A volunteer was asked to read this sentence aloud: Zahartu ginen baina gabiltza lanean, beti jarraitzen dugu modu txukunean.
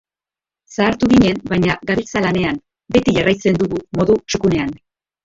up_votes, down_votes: 2, 0